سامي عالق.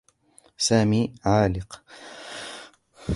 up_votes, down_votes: 2, 1